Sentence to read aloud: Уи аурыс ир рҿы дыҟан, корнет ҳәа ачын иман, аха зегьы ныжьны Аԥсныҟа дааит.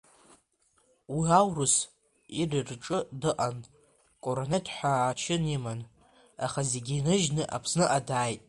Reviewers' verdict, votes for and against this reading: rejected, 1, 2